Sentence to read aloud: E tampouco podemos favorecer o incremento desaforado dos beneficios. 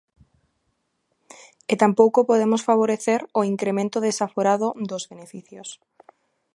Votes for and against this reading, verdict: 2, 0, accepted